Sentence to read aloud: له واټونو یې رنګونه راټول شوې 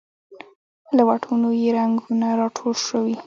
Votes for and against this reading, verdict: 0, 2, rejected